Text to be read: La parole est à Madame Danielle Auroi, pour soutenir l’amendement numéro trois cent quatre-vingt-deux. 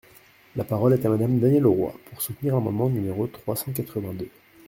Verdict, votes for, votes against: accepted, 2, 0